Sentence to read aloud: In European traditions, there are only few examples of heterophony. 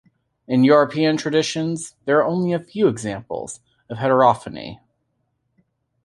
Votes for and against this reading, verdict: 0, 2, rejected